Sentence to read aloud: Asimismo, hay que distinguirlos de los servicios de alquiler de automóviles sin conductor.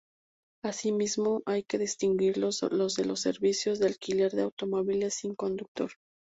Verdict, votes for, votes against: accepted, 2, 0